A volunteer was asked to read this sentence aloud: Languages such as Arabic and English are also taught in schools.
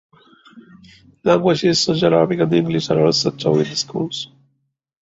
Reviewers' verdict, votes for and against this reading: rejected, 0, 2